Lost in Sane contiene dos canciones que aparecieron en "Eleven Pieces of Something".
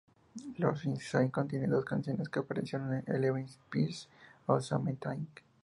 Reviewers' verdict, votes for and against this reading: accepted, 2, 0